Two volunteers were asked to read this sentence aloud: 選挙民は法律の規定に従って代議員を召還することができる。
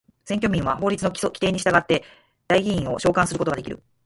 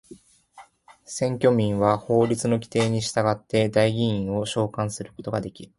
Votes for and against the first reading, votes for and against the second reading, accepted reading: 2, 4, 2, 0, second